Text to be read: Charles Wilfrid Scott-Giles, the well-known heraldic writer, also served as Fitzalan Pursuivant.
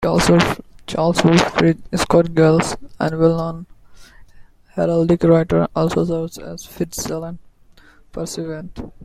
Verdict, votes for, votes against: rejected, 0, 2